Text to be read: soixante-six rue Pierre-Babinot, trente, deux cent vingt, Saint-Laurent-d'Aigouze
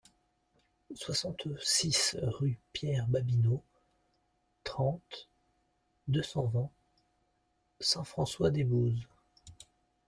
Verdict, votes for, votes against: rejected, 0, 2